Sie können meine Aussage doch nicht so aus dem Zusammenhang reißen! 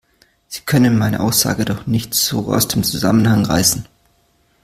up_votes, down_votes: 2, 0